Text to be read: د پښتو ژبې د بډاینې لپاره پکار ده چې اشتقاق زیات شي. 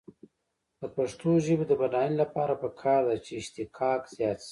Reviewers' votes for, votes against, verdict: 3, 0, accepted